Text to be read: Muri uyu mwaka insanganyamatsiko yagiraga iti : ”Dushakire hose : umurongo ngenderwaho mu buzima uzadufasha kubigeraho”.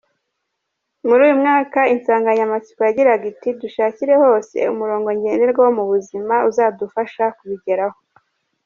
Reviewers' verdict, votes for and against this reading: rejected, 1, 2